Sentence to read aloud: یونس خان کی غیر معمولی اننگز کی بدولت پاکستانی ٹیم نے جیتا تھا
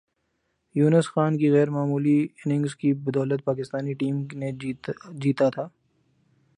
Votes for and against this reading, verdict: 2, 0, accepted